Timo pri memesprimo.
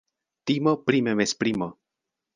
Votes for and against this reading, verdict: 1, 2, rejected